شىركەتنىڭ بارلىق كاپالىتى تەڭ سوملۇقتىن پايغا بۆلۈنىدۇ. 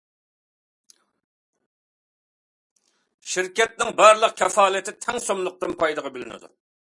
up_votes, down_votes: 2, 0